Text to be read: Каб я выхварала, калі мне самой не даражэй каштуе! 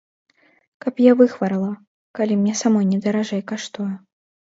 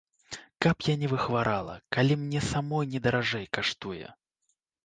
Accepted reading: first